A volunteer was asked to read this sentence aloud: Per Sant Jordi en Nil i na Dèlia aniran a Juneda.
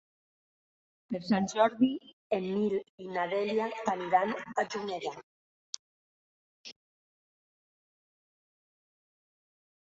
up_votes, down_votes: 2, 0